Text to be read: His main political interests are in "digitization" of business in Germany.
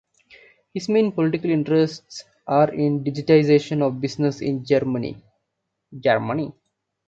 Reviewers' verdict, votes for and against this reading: rejected, 0, 2